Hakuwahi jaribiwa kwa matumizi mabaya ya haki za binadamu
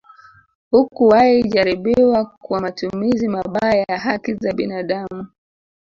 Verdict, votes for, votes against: rejected, 0, 2